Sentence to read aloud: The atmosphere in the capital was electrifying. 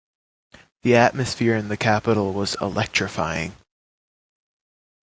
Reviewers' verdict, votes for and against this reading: accepted, 2, 0